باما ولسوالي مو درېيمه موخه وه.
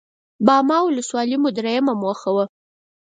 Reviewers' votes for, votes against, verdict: 4, 0, accepted